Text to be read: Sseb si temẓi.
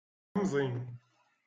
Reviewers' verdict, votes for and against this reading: rejected, 0, 2